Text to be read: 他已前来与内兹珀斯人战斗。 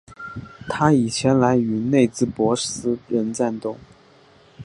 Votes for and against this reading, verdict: 2, 0, accepted